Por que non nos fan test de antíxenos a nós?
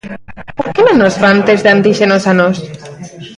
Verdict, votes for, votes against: accepted, 2, 1